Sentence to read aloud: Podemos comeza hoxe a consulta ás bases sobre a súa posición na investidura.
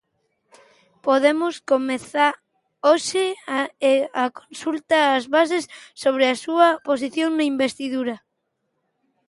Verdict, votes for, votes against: rejected, 0, 2